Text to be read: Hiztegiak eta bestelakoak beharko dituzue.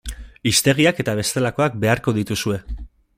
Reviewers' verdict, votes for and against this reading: accepted, 2, 0